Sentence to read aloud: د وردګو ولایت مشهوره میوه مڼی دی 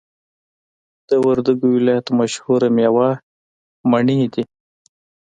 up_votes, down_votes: 2, 0